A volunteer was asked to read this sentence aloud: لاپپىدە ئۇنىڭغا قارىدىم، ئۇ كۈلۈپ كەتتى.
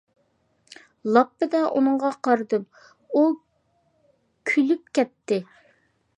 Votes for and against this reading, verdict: 2, 0, accepted